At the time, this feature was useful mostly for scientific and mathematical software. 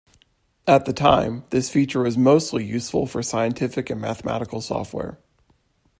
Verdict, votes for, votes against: rejected, 0, 2